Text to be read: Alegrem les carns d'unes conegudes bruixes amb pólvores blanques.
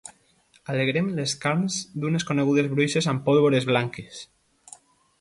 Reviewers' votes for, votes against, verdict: 3, 0, accepted